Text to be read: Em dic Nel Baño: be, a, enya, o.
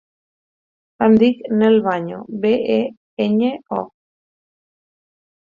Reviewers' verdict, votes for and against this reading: rejected, 2, 4